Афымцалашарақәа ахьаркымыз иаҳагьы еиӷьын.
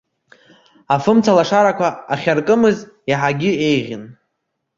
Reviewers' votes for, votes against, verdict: 2, 0, accepted